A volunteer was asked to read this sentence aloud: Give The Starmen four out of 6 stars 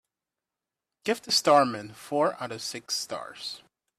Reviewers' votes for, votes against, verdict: 0, 2, rejected